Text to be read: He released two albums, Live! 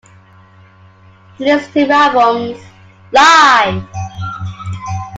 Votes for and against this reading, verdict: 0, 2, rejected